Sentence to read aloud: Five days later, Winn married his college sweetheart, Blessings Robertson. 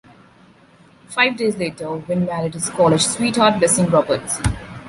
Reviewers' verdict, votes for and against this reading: rejected, 0, 2